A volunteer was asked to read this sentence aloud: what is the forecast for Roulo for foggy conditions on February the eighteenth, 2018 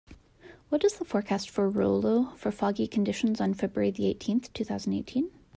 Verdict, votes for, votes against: rejected, 0, 2